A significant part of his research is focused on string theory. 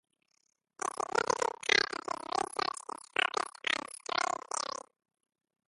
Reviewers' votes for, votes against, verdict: 0, 2, rejected